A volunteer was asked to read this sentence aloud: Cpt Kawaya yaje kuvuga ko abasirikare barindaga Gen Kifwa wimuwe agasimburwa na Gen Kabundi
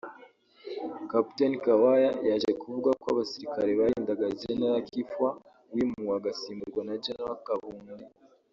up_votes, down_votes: 0, 2